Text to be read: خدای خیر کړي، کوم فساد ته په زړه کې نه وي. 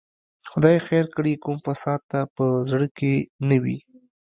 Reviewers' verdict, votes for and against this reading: accepted, 2, 0